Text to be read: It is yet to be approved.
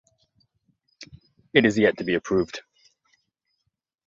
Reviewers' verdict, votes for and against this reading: accepted, 2, 0